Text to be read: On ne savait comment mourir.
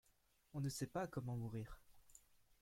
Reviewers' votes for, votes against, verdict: 0, 2, rejected